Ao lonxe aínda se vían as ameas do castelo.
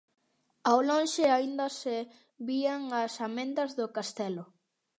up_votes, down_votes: 0, 2